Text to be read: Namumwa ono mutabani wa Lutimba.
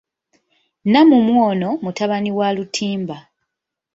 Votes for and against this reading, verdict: 2, 0, accepted